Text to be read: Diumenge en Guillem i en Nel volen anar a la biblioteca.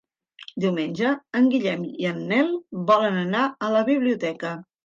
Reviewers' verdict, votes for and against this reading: accepted, 3, 0